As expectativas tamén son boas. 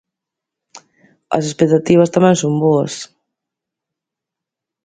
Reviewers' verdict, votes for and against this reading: accepted, 2, 0